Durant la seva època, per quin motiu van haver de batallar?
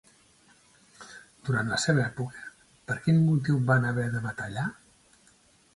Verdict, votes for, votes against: rejected, 1, 2